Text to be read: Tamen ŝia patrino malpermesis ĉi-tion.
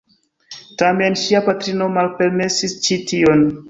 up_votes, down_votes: 1, 2